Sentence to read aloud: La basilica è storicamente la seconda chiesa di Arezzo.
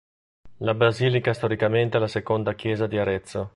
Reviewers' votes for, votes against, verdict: 2, 0, accepted